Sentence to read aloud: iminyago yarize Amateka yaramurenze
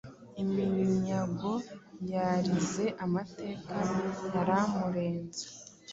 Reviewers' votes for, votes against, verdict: 2, 0, accepted